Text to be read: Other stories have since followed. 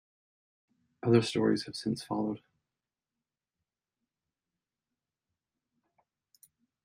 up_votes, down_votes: 2, 0